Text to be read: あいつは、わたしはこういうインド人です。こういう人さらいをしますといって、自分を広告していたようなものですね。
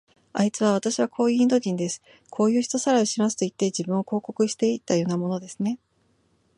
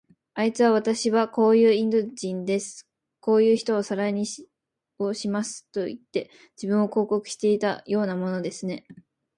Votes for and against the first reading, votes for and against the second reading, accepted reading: 11, 0, 1, 2, first